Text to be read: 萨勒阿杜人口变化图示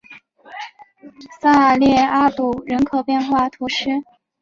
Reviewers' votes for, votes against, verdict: 2, 0, accepted